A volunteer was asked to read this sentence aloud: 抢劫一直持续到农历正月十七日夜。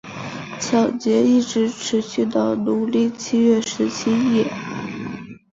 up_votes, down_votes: 2, 0